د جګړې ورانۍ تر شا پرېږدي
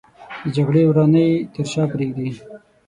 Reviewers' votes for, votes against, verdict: 3, 6, rejected